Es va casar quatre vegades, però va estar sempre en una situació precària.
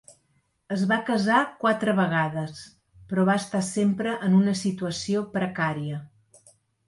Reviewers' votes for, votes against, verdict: 2, 0, accepted